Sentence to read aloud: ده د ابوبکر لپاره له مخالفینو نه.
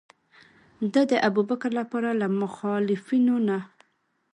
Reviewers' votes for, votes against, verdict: 2, 0, accepted